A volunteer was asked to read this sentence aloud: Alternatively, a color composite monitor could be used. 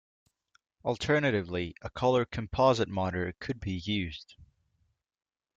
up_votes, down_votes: 2, 0